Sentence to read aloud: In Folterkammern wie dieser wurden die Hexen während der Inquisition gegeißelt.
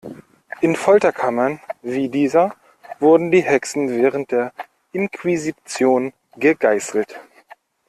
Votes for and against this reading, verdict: 2, 0, accepted